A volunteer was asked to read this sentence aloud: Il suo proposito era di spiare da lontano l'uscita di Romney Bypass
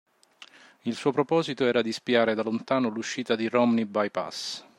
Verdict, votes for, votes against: rejected, 1, 2